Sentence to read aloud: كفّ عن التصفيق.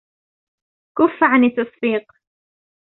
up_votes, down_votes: 0, 2